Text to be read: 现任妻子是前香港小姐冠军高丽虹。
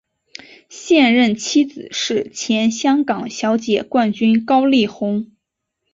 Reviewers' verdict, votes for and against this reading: accepted, 2, 1